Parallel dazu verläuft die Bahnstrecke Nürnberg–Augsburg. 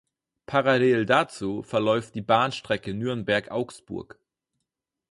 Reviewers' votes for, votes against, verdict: 4, 0, accepted